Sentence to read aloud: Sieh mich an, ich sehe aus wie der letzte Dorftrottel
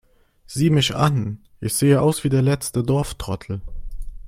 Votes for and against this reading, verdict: 3, 0, accepted